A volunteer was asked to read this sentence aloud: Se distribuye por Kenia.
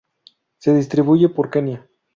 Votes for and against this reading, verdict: 4, 0, accepted